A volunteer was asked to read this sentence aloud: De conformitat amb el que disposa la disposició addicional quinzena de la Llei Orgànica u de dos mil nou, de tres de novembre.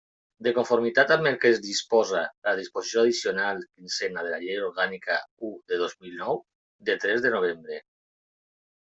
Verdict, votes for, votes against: rejected, 0, 2